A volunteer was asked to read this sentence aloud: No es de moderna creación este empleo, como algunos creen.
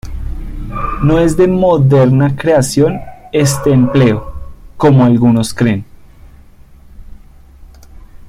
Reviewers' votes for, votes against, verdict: 2, 0, accepted